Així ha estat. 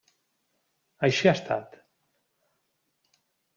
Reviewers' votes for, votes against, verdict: 3, 0, accepted